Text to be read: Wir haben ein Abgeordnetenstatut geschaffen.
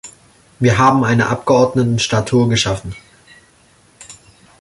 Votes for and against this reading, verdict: 0, 2, rejected